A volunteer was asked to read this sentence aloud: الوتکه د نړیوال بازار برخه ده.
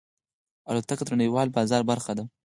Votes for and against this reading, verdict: 0, 4, rejected